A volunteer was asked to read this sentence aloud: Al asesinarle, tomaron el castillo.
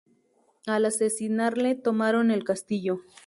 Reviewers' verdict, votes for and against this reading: accepted, 4, 0